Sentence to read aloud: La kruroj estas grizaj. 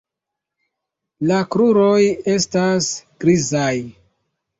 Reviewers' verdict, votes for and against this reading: accepted, 2, 1